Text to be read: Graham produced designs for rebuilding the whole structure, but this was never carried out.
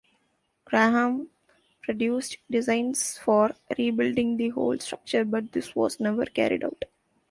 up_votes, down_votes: 2, 0